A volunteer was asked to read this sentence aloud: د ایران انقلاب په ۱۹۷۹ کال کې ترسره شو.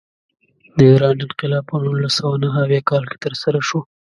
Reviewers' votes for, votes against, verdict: 0, 2, rejected